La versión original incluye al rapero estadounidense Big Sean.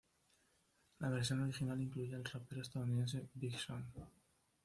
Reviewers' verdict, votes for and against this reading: accepted, 2, 0